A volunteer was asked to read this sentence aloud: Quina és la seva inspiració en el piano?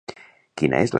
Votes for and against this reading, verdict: 0, 2, rejected